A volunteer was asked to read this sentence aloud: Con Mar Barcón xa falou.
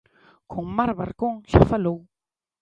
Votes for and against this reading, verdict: 2, 0, accepted